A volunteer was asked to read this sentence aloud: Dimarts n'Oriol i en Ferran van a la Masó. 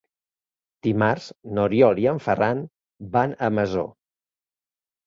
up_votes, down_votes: 0, 2